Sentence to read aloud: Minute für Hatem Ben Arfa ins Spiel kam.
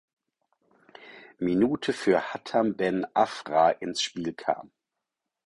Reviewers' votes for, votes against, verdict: 0, 4, rejected